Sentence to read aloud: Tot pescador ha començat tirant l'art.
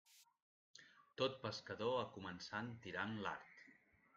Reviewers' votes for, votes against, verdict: 0, 2, rejected